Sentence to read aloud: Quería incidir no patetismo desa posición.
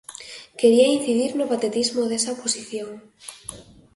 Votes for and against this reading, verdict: 2, 0, accepted